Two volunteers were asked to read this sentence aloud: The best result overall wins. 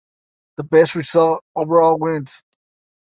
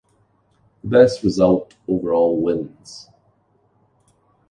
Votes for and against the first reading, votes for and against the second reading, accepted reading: 2, 0, 1, 2, first